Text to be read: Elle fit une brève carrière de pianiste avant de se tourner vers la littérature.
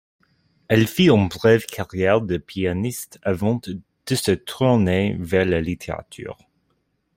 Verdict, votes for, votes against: rejected, 1, 2